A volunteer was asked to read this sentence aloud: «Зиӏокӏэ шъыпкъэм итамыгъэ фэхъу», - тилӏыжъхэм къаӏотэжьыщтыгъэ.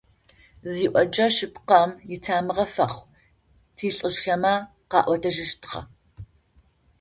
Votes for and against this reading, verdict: 0, 2, rejected